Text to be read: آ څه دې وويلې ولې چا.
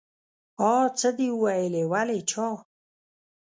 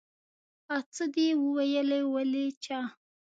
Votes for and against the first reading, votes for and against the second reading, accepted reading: 1, 2, 2, 0, second